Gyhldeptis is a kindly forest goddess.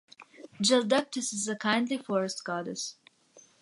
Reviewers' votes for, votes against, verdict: 2, 1, accepted